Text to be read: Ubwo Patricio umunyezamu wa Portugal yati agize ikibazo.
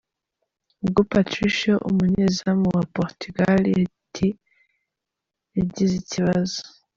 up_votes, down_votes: 2, 3